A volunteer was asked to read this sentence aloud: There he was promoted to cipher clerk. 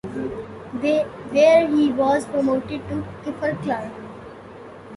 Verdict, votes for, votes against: rejected, 0, 2